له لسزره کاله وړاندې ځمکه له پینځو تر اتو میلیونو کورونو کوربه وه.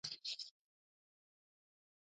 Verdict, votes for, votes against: rejected, 1, 2